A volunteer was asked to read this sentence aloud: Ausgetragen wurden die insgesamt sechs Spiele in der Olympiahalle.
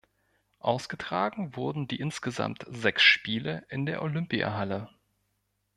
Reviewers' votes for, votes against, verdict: 2, 0, accepted